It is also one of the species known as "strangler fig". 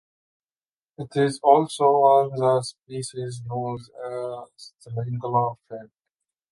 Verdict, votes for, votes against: rejected, 1, 3